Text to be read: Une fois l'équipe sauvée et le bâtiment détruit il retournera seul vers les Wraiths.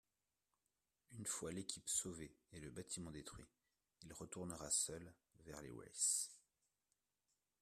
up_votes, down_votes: 2, 0